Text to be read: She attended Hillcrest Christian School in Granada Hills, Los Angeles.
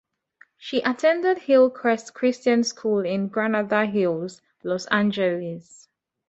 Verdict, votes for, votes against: accepted, 2, 0